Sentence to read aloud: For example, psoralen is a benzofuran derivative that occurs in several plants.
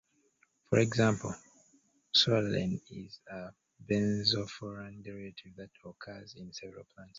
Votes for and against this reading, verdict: 1, 2, rejected